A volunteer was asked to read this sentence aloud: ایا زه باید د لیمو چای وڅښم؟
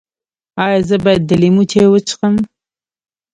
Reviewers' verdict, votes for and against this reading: accepted, 2, 0